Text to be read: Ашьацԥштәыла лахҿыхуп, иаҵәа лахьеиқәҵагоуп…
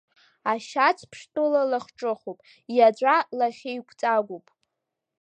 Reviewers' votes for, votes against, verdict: 3, 2, accepted